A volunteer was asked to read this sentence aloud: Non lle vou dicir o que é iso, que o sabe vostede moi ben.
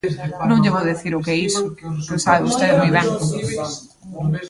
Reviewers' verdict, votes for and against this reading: accepted, 2, 0